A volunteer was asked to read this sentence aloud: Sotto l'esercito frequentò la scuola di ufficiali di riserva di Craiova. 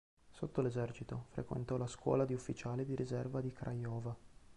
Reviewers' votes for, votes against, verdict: 1, 2, rejected